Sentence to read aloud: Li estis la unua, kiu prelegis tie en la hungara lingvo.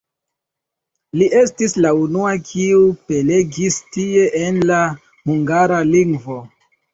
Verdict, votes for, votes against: accepted, 2, 1